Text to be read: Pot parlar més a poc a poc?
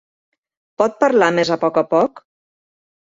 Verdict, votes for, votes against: accepted, 2, 0